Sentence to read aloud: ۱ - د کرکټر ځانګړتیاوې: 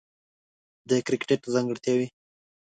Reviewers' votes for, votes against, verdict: 0, 2, rejected